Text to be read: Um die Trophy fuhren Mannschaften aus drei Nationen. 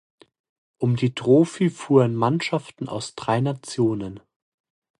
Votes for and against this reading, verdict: 2, 1, accepted